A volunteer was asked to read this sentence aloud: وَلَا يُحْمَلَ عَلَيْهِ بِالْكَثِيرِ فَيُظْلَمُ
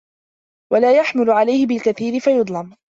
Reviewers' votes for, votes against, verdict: 2, 0, accepted